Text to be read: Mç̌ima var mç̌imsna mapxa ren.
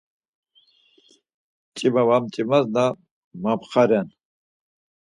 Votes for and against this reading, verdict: 2, 4, rejected